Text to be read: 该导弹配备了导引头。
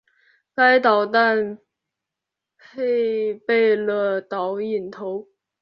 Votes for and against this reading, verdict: 3, 0, accepted